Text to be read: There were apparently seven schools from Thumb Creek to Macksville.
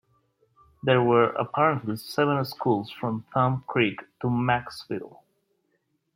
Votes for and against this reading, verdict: 2, 0, accepted